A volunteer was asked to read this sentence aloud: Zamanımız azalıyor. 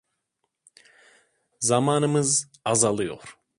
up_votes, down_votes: 2, 0